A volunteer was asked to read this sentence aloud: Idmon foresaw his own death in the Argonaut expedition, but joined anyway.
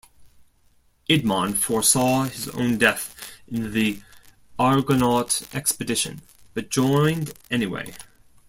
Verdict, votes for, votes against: accepted, 2, 0